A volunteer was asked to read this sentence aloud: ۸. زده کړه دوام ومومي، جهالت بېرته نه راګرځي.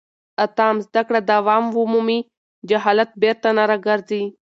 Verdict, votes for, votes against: rejected, 0, 2